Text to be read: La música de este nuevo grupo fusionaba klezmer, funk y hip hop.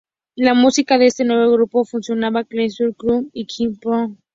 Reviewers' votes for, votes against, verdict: 0, 2, rejected